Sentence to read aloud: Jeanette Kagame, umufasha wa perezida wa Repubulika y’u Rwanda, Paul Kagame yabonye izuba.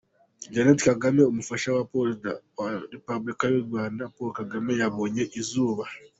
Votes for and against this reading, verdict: 0, 2, rejected